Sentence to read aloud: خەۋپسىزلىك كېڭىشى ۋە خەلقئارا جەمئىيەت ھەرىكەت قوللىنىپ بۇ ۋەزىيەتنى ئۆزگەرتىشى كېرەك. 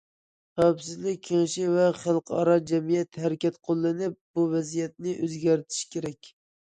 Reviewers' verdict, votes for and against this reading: accepted, 2, 0